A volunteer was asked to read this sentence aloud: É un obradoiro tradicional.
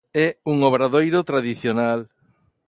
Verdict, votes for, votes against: accepted, 2, 0